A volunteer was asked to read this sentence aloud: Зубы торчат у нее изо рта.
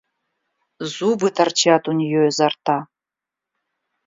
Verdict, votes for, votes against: accepted, 2, 0